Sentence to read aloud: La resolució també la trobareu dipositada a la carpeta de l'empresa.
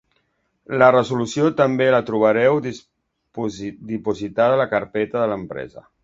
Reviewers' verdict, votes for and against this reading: rejected, 1, 2